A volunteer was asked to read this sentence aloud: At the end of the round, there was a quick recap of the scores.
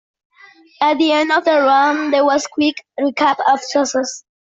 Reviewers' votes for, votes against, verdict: 0, 2, rejected